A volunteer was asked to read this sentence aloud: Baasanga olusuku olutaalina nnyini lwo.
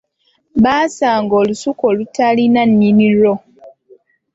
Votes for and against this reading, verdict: 2, 0, accepted